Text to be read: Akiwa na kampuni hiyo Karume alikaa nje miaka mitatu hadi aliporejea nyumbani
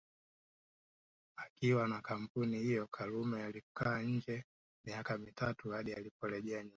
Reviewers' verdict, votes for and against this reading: rejected, 1, 2